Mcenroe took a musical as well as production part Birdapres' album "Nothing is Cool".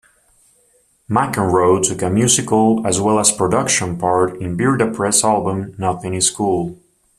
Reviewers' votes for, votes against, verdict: 2, 0, accepted